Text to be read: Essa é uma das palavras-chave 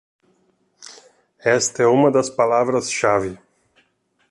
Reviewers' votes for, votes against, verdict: 1, 2, rejected